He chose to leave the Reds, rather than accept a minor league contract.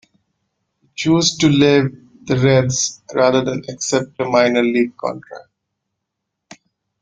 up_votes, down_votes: 1, 2